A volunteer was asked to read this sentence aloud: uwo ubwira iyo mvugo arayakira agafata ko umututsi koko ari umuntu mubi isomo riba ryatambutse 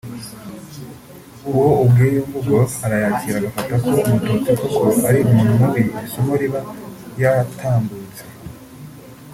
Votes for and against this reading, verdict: 1, 2, rejected